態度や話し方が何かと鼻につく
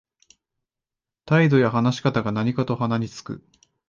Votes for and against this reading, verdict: 2, 0, accepted